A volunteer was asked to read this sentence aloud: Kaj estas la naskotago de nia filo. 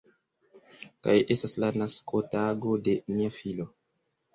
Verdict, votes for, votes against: rejected, 1, 2